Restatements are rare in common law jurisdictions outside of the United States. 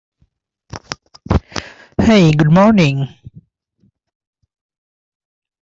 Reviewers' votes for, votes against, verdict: 0, 2, rejected